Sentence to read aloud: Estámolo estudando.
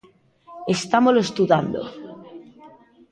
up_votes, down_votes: 0, 2